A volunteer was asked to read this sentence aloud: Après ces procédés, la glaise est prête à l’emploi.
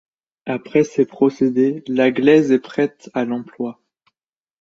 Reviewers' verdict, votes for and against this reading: accepted, 2, 0